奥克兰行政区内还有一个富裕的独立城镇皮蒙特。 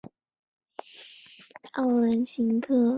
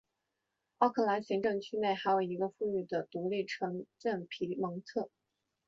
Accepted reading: second